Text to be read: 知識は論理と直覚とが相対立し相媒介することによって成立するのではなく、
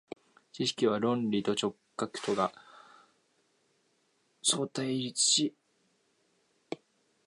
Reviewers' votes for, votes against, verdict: 0, 2, rejected